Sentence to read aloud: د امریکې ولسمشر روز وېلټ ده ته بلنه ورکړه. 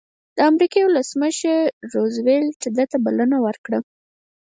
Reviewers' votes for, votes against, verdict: 2, 4, rejected